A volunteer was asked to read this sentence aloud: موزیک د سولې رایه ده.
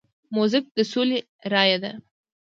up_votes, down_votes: 2, 0